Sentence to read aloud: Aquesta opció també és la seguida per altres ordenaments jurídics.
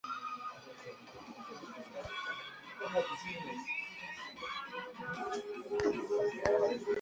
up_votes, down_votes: 0, 2